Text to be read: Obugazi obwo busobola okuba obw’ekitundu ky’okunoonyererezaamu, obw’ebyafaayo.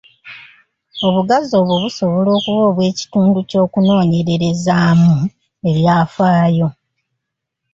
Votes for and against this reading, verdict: 1, 2, rejected